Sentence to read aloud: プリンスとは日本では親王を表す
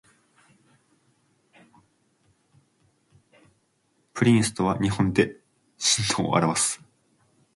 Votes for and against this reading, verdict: 1, 2, rejected